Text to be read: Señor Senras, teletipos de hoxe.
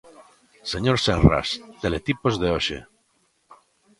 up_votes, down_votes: 2, 0